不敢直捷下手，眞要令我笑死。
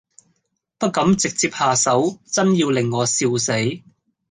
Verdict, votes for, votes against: rejected, 0, 2